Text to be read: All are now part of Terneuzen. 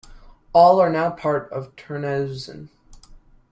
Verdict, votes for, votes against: rejected, 1, 2